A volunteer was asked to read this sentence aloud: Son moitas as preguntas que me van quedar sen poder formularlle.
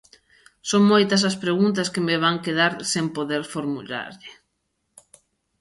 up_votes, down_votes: 0, 2